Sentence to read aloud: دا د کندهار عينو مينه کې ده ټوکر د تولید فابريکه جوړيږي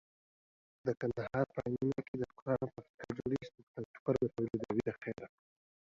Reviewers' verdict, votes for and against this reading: accepted, 2, 0